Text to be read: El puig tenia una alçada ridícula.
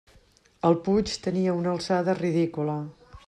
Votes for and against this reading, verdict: 3, 0, accepted